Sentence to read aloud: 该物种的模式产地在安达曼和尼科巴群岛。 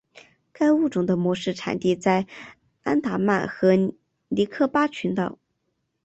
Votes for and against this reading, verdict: 2, 0, accepted